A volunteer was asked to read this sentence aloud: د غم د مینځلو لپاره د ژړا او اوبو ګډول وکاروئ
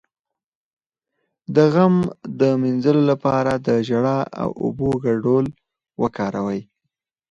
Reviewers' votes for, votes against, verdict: 2, 4, rejected